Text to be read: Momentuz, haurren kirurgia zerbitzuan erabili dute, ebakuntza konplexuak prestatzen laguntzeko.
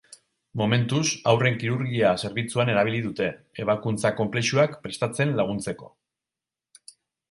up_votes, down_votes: 4, 0